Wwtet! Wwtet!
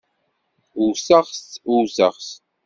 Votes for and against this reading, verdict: 1, 2, rejected